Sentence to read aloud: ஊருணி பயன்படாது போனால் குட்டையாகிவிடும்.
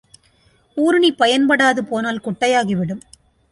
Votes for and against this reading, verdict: 2, 0, accepted